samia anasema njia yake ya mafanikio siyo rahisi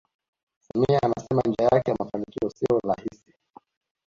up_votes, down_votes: 1, 2